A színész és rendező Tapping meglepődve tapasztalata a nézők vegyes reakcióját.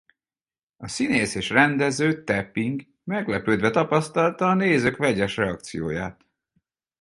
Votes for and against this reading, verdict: 2, 2, rejected